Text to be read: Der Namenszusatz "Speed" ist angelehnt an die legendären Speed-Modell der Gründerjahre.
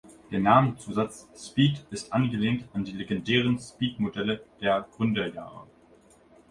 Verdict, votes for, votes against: accepted, 2, 1